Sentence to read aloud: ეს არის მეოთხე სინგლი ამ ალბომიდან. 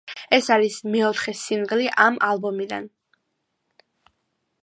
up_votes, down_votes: 1, 2